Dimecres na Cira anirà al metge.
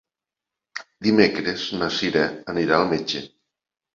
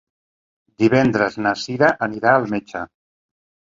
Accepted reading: first